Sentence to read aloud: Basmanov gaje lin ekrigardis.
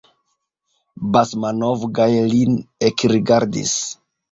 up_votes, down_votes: 1, 2